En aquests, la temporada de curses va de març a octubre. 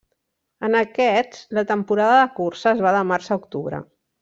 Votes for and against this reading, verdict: 0, 2, rejected